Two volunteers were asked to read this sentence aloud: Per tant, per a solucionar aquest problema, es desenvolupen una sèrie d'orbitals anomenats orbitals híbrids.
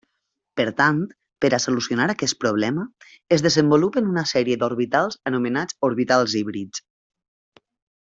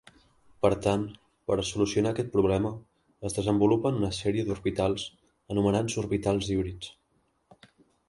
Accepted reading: first